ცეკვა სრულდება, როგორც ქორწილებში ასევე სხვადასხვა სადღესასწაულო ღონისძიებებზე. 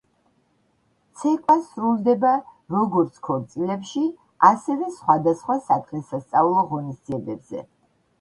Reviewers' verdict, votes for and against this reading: accepted, 2, 0